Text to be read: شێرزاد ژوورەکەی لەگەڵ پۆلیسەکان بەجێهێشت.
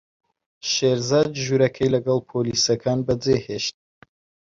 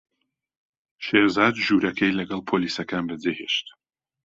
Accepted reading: second